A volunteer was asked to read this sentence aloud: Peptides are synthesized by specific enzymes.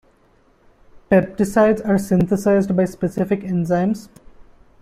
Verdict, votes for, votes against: rejected, 0, 2